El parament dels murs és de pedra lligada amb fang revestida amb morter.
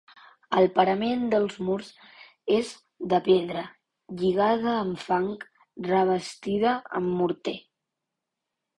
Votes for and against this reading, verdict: 6, 0, accepted